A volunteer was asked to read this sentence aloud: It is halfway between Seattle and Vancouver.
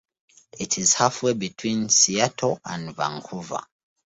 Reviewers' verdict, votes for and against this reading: accepted, 2, 0